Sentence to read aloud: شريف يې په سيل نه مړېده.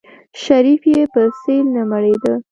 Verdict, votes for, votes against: rejected, 0, 2